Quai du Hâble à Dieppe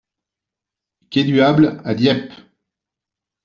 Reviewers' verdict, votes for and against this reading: accepted, 2, 0